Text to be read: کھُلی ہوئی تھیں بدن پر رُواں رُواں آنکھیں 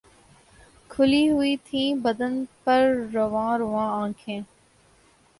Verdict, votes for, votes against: rejected, 0, 2